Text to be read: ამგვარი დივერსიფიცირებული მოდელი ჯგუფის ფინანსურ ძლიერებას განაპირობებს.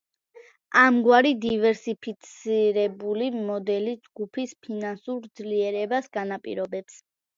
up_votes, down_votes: 2, 1